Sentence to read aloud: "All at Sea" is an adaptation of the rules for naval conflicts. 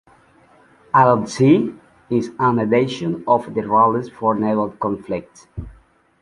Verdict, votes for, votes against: accepted, 2, 0